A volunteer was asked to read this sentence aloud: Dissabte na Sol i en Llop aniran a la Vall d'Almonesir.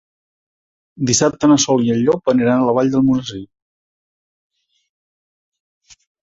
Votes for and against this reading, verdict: 3, 0, accepted